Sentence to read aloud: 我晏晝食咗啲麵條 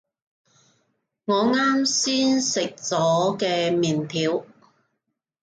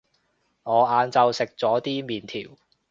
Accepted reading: second